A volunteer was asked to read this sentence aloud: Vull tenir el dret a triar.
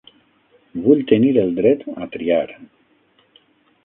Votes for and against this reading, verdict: 3, 6, rejected